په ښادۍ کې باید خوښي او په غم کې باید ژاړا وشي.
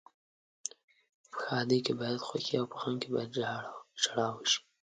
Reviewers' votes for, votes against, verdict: 0, 2, rejected